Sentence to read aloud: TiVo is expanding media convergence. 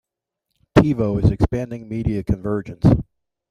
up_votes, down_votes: 2, 1